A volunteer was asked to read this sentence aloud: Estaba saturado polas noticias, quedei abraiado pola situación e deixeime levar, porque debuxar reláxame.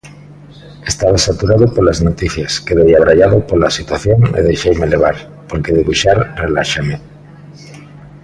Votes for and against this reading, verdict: 2, 0, accepted